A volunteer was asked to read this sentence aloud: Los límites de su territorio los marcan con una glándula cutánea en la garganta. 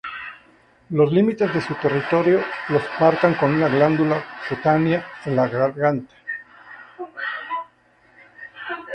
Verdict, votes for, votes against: rejected, 0, 2